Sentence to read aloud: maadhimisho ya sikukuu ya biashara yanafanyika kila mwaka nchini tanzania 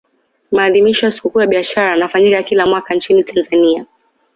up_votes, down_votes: 2, 0